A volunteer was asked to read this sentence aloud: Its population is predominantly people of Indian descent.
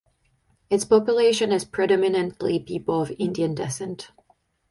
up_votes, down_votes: 2, 4